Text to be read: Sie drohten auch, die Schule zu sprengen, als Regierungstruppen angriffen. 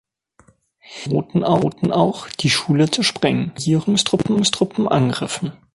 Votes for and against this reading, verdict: 0, 3, rejected